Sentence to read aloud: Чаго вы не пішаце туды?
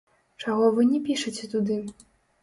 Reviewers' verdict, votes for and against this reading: rejected, 0, 3